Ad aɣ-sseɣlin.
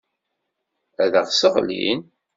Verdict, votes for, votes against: accepted, 2, 0